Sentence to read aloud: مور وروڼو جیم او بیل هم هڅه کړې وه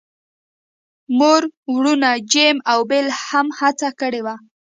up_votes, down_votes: 1, 2